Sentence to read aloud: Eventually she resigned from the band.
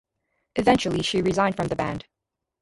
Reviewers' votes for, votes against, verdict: 2, 0, accepted